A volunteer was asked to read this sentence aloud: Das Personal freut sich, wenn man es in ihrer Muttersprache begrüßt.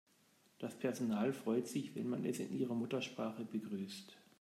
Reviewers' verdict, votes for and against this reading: accepted, 2, 0